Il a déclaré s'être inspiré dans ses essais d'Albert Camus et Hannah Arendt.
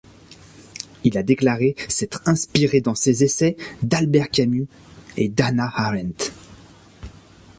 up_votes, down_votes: 0, 2